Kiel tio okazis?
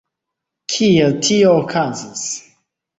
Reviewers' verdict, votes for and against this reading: accepted, 2, 1